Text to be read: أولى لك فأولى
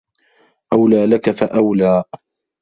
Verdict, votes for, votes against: rejected, 0, 2